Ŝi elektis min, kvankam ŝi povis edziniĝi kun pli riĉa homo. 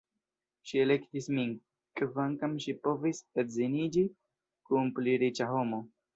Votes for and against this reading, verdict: 2, 0, accepted